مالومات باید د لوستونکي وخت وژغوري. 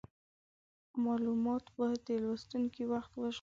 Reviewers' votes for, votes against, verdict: 2, 0, accepted